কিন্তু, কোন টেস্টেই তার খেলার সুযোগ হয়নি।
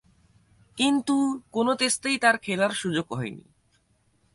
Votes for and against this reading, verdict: 2, 4, rejected